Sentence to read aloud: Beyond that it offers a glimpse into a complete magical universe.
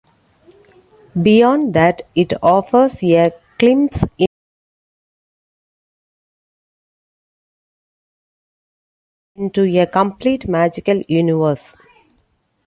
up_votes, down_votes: 0, 2